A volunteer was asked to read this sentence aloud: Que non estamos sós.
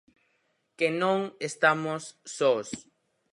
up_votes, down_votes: 2, 2